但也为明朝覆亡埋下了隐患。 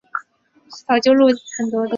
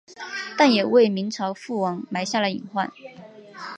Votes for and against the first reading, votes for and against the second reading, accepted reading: 2, 6, 4, 0, second